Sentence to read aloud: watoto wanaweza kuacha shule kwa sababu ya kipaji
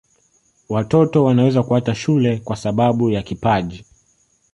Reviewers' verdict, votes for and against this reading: accepted, 2, 1